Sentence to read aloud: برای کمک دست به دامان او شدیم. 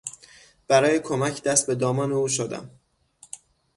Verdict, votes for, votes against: rejected, 3, 6